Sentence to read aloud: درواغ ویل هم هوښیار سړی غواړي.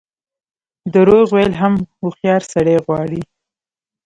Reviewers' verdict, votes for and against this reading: accepted, 2, 0